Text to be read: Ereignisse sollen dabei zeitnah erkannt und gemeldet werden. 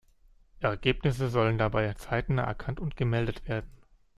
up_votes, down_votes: 1, 2